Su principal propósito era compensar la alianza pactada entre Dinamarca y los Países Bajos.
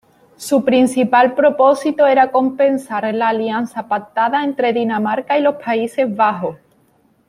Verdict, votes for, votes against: accepted, 2, 1